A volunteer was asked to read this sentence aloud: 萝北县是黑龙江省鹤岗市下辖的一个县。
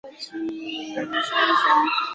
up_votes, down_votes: 0, 2